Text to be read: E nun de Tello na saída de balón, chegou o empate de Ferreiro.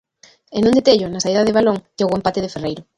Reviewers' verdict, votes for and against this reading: rejected, 1, 2